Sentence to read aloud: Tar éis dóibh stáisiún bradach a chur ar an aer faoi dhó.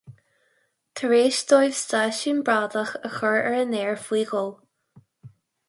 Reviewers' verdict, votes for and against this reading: accepted, 4, 0